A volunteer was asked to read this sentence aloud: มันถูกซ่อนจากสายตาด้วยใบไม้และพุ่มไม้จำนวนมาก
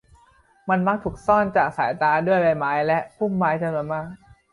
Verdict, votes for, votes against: rejected, 0, 3